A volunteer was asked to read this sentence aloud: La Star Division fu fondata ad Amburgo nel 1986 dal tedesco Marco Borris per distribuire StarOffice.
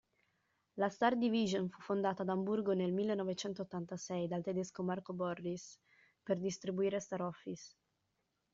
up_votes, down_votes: 0, 2